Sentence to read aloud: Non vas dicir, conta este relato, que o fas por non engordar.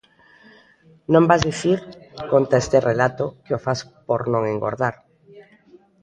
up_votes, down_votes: 1, 2